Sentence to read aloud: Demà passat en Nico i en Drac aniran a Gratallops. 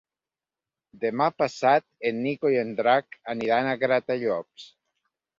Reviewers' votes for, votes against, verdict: 2, 0, accepted